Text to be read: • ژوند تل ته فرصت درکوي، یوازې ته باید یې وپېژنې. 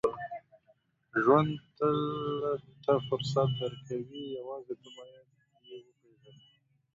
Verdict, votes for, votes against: rejected, 1, 2